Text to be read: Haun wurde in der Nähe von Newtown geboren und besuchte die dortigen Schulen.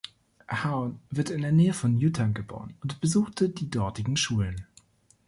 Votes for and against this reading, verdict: 1, 2, rejected